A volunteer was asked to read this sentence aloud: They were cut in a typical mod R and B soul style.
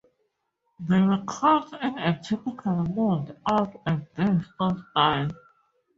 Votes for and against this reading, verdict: 2, 2, rejected